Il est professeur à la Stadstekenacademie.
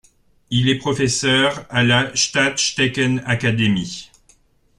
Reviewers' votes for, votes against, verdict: 2, 0, accepted